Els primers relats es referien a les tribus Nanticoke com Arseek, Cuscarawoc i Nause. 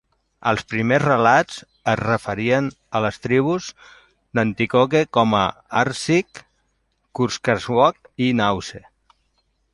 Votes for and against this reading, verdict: 2, 0, accepted